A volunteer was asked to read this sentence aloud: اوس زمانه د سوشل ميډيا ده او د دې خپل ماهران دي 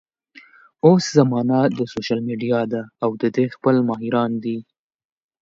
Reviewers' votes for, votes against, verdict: 2, 0, accepted